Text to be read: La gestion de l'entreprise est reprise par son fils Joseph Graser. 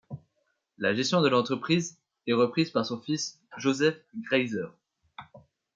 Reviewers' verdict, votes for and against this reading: accepted, 2, 0